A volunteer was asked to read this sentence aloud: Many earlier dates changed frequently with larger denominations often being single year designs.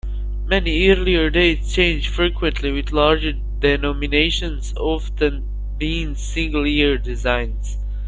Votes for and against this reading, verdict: 1, 3, rejected